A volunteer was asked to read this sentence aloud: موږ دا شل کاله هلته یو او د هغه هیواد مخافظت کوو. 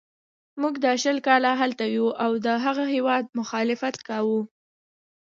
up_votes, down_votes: 1, 2